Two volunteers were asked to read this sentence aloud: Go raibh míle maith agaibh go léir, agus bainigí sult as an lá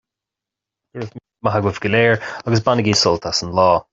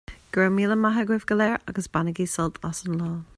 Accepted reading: second